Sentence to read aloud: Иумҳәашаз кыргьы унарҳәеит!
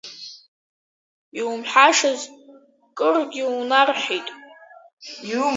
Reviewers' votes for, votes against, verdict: 1, 3, rejected